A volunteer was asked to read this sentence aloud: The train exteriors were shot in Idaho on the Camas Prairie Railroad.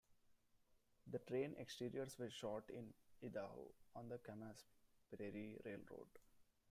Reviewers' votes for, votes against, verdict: 1, 2, rejected